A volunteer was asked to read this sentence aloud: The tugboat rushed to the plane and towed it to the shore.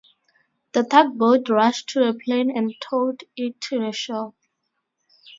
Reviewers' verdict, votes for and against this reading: rejected, 2, 2